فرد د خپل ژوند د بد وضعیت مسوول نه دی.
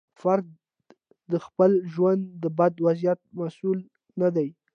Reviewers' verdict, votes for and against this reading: accepted, 2, 0